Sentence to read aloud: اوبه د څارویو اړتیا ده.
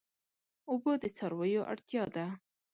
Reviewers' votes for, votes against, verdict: 3, 0, accepted